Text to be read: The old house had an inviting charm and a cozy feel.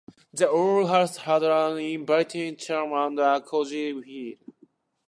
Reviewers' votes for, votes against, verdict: 2, 1, accepted